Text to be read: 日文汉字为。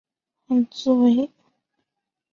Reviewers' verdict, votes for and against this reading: rejected, 0, 2